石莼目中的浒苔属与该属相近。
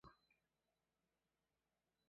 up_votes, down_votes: 0, 2